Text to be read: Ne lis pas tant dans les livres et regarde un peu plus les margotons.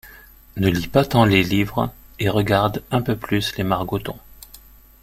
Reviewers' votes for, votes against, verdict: 1, 2, rejected